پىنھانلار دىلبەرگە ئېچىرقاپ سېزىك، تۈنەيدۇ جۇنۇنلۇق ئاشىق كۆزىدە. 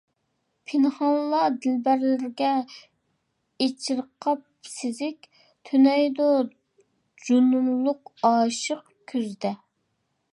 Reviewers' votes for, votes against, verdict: 0, 2, rejected